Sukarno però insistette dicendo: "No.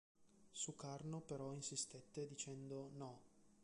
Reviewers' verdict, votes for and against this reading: rejected, 1, 3